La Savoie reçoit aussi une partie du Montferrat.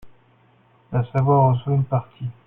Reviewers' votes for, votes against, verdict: 1, 2, rejected